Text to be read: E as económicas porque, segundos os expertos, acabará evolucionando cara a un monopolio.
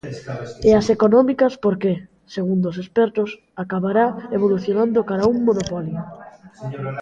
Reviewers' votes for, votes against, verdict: 1, 2, rejected